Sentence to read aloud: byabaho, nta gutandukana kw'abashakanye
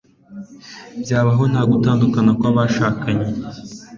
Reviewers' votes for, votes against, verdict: 2, 0, accepted